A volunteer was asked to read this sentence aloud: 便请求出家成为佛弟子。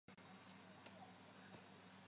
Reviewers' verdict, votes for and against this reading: rejected, 0, 2